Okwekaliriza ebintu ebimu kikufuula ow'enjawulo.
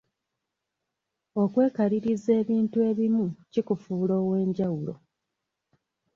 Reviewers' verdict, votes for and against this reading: accepted, 2, 0